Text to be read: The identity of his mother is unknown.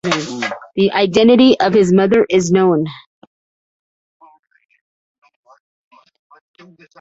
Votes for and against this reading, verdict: 0, 2, rejected